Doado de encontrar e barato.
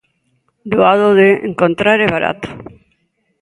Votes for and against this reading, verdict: 2, 0, accepted